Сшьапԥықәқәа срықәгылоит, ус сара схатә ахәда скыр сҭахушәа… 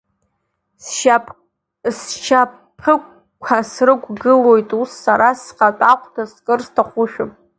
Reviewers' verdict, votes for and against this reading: rejected, 0, 2